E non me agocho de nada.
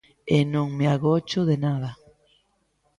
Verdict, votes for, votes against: accepted, 2, 0